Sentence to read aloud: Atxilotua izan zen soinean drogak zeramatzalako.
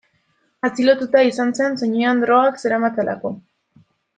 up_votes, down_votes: 1, 2